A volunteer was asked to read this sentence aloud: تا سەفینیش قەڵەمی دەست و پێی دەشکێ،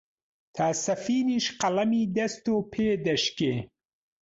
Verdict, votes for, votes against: rejected, 1, 3